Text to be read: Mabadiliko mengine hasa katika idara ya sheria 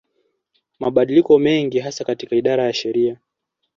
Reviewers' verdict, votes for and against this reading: accepted, 2, 0